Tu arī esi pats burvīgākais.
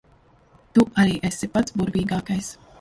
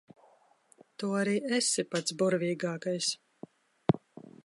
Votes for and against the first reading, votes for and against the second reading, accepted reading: 0, 2, 2, 1, second